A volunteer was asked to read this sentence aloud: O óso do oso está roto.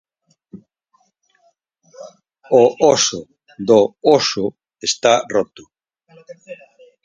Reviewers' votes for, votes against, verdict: 0, 4, rejected